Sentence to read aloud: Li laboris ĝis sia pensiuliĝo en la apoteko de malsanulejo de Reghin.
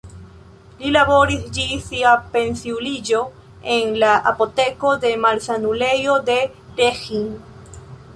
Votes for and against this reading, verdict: 1, 2, rejected